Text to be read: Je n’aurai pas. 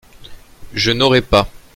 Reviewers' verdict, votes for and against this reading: accepted, 2, 0